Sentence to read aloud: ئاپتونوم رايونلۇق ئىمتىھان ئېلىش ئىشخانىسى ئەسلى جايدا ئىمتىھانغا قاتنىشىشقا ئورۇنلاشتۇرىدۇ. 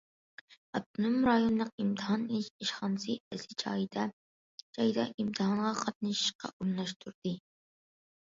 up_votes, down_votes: 0, 2